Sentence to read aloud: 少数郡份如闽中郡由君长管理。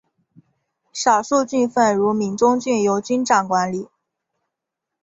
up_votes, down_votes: 2, 0